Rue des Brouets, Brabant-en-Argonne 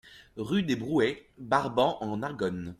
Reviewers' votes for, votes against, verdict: 0, 2, rejected